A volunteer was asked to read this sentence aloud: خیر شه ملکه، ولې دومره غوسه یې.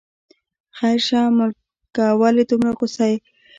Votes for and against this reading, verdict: 2, 0, accepted